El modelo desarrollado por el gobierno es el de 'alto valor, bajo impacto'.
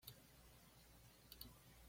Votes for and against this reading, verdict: 1, 2, rejected